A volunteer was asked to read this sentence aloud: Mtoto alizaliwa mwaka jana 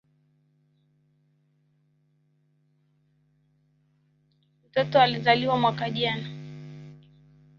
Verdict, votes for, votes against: rejected, 1, 2